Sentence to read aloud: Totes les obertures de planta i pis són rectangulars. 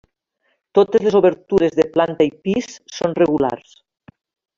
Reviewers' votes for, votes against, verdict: 0, 2, rejected